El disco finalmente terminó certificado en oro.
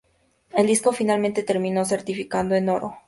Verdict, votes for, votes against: rejected, 2, 4